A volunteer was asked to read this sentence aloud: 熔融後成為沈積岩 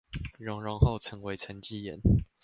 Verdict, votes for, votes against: accepted, 2, 0